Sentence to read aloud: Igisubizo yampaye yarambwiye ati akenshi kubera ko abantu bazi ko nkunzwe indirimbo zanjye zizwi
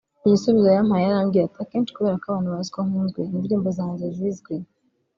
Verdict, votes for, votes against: rejected, 0, 2